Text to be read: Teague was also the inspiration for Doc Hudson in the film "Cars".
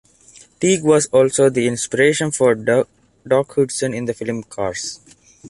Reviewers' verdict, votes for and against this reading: rejected, 1, 2